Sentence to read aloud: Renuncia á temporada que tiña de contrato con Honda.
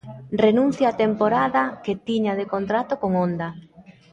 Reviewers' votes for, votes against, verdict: 2, 0, accepted